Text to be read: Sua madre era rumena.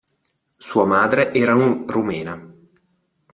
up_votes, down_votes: 1, 2